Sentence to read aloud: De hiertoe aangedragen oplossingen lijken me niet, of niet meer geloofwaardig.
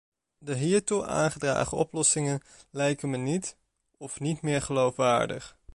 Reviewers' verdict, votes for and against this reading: accepted, 2, 0